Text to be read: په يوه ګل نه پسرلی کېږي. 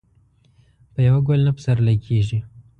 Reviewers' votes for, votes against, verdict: 2, 0, accepted